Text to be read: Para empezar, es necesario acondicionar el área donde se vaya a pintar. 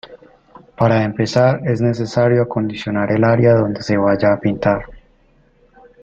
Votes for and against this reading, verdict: 2, 0, accepted